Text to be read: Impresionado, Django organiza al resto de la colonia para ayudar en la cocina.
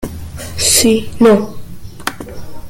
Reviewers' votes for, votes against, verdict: 0, 2, rejected